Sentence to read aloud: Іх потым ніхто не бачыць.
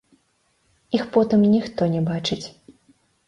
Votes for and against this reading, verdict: 2, 1, accepted